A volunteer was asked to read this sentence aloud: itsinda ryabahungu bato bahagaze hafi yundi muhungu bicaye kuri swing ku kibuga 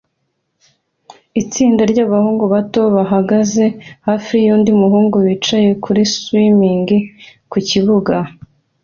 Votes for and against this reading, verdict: 2, 0, accepted